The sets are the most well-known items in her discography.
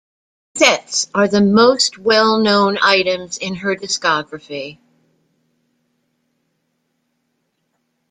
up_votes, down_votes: 1, 2